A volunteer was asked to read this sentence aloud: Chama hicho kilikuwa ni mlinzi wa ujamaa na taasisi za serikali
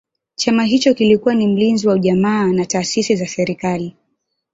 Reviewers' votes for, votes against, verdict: 1, 2, rejected